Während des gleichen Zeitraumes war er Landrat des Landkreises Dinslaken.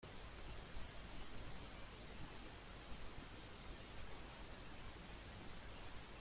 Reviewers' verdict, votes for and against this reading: rejected, 0, 2